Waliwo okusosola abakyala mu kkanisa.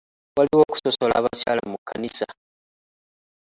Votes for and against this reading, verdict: 1, 2, rejected